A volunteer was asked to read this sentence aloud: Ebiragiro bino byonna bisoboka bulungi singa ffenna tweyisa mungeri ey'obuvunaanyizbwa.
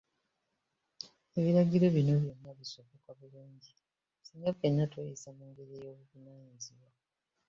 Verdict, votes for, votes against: rejected, 0, 2